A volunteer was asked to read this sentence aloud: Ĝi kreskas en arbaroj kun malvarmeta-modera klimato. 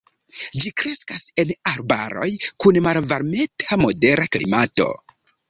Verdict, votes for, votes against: accepted, 2, 1